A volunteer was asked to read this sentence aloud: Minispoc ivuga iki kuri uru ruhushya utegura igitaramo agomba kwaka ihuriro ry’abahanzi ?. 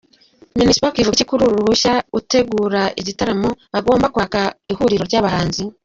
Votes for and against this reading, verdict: 2, 0, accepted